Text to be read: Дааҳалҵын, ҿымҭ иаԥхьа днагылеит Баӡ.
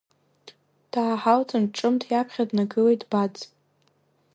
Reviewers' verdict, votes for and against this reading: rejected, 1, 2